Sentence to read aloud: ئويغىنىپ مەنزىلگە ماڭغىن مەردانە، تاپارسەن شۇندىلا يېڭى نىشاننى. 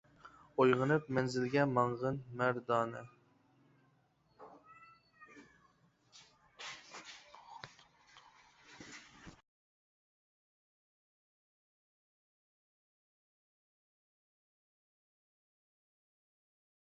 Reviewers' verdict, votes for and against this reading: rejected, 0, 2